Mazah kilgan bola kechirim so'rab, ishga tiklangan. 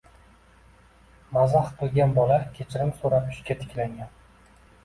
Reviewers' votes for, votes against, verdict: 2, 1, accepted